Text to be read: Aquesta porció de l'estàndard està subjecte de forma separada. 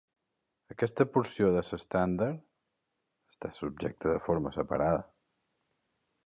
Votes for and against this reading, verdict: 1, 2, rejected